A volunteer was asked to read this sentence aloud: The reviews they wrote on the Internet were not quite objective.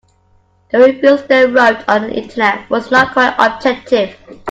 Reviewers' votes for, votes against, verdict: 1, 2, rejected